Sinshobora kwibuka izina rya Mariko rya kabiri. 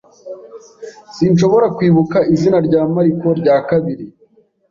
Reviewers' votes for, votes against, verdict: 2, 0, accepted